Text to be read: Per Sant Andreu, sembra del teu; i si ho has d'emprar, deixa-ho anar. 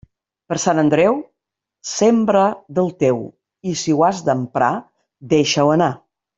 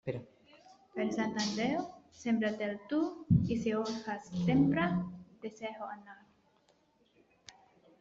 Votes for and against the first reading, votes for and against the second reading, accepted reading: 3, 0, 0, 2, first